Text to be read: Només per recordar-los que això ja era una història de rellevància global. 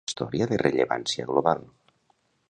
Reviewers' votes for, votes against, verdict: 0, 2, rejected